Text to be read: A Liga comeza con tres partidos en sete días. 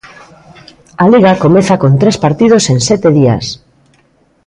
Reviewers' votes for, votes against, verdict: 2, 0, accepted